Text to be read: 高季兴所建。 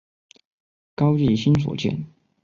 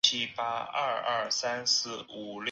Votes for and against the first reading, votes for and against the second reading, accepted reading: 2, 0, 0, 4, first